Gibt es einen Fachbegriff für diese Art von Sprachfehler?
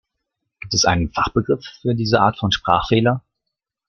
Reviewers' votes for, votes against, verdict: 2, 0, accepted